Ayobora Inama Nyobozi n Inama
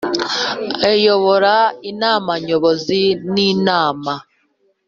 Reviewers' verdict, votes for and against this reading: accepted, 2, 0